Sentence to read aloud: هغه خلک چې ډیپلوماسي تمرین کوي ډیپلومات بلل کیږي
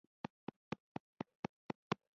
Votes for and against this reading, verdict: 1, 2, rejected